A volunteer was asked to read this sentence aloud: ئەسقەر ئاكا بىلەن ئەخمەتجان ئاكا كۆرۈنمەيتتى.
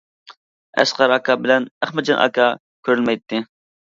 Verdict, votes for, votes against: accepted, 2, 0